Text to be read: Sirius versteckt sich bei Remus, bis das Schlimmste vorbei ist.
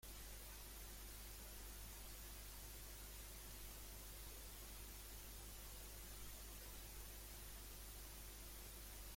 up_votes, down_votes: 0, 2